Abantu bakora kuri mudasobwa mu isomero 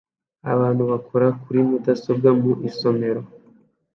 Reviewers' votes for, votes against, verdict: 2, 0, accepted